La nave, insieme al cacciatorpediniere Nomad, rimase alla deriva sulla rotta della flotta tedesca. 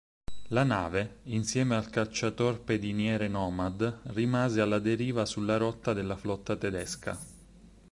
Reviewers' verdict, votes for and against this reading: accepted, 8, 0